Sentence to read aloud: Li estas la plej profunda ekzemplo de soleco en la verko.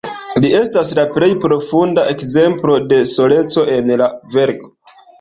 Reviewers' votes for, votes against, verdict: 2, 1, accepted